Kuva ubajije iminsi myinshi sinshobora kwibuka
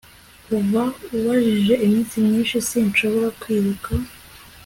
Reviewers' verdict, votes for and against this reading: accepted, 4, 0